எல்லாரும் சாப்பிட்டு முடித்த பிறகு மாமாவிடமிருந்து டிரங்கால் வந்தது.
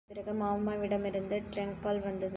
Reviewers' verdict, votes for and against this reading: rejected, 2, 3